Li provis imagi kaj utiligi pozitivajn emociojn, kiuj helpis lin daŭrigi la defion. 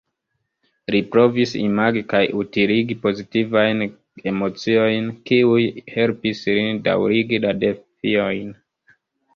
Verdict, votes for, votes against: rejected, 0, 2